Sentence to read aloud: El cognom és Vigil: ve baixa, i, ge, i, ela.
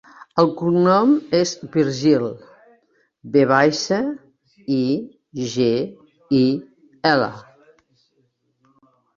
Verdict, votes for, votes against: rejected, 0, 3